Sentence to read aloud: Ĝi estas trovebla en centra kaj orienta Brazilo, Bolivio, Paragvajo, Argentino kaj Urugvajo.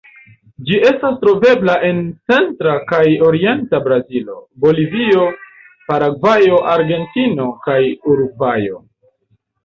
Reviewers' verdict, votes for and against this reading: rejected, 1, 2